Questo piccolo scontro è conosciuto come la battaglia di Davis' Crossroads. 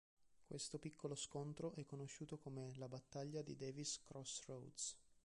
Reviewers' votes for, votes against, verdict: 2, 0, accepted